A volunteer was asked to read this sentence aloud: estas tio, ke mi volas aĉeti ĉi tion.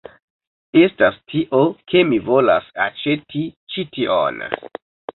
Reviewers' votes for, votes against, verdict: 2, 0, accepted